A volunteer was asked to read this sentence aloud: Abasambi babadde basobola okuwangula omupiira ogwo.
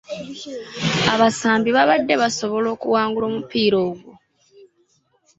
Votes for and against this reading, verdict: 2, 0, accepted